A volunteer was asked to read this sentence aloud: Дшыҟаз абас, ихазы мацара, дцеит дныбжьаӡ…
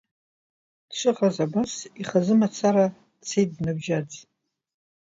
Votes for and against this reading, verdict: 2, 0, accepted